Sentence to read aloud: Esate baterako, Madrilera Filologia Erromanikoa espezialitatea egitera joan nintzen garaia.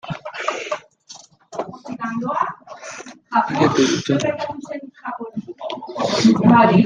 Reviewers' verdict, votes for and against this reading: rejected, 0, 2